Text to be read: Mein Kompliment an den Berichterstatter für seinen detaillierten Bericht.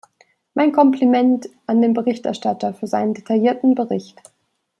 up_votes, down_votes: 2, 0